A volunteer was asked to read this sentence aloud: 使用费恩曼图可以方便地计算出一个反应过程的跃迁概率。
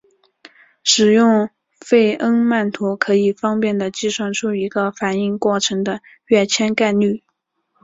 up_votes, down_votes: 2, 0